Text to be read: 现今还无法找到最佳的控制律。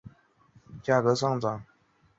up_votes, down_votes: 0, 3